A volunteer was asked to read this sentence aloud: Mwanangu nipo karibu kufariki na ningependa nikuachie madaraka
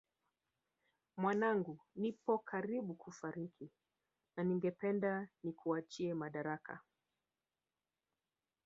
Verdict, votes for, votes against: accepted, 2, 0